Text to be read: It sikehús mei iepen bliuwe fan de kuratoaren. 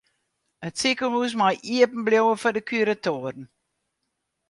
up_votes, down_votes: 2, 4